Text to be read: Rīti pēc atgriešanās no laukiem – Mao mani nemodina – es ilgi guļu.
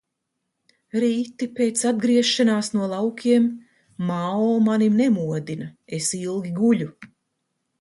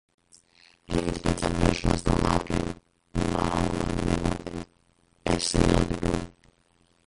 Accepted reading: first